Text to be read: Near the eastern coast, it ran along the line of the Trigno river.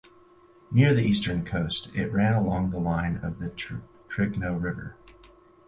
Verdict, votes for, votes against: rejected, 0, 4